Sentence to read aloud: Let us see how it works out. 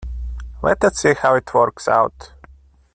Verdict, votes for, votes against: rejected, 0, 2